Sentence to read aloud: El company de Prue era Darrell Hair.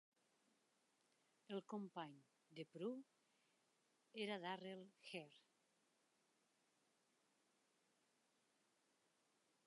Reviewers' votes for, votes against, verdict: 3, 2, accepted